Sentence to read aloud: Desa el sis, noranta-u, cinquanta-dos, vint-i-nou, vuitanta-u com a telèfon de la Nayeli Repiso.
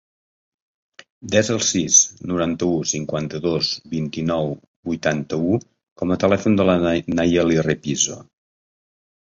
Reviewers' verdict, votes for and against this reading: rejected, 0, 2